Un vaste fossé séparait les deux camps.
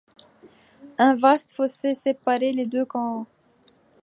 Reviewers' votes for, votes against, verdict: 2, 0, accepted